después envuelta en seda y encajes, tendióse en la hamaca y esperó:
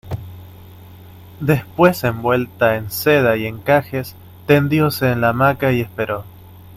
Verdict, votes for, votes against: accepted, 2, 0